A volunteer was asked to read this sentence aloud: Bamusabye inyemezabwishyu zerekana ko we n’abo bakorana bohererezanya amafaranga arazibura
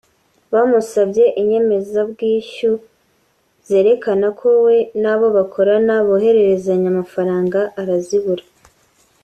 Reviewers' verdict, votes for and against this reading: accepted, 3, 1